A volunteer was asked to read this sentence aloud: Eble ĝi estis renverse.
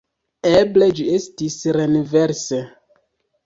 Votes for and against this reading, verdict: 0, 2, rejected